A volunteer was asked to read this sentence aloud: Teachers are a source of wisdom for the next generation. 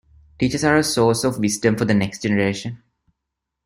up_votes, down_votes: 1, 2